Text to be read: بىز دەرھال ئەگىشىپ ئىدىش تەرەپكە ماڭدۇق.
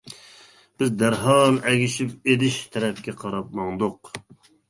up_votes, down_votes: 0, 2